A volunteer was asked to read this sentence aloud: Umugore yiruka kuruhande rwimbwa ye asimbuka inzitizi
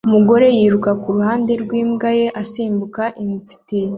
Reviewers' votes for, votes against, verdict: 2, 0, accepted